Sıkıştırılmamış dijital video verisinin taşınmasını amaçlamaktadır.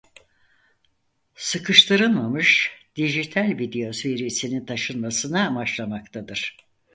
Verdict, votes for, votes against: rejected, 2, 4